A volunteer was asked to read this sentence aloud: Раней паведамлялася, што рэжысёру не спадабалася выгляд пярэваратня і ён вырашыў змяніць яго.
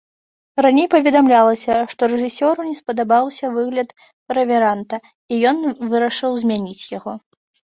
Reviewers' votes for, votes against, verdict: 0, 2, rejected